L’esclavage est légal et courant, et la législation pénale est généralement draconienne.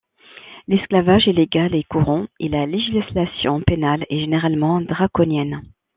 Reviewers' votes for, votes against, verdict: 2, 0, accepted